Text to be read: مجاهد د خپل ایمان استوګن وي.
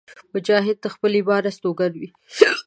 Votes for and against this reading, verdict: 1, 2, rejected